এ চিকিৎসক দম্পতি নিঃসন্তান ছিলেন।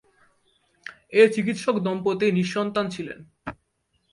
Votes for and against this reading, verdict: 2, 0, accepted